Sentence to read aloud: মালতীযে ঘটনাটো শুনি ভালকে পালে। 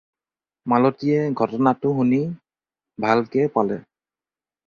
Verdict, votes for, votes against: rejected, 2, 4